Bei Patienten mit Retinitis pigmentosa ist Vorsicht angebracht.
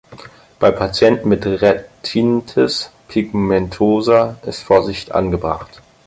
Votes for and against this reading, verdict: 0, 6, rejected